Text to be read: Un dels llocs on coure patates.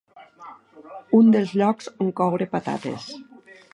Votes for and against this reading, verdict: 2, 1, accepted